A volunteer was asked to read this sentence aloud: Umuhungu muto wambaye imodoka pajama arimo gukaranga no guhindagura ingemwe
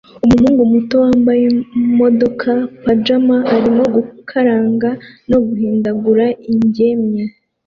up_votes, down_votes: 1, 2